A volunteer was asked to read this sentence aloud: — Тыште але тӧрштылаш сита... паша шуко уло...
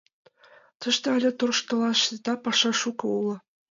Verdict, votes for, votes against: accepted, 2, 0